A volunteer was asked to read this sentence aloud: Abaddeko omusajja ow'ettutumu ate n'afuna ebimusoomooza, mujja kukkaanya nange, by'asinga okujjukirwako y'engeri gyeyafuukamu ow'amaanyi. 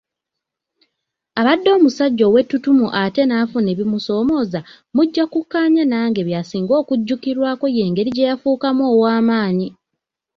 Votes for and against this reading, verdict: 2, 0, accepted